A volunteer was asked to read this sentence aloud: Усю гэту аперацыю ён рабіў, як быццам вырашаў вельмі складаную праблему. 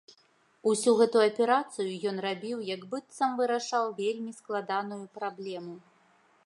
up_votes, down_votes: 2, 0